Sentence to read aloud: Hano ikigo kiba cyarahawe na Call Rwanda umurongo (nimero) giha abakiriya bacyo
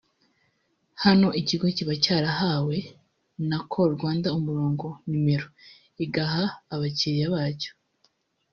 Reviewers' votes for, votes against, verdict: 1, 2, rejected